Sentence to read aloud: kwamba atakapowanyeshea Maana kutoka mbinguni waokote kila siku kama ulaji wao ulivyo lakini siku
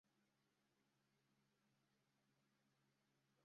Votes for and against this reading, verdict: 0, 2, rejected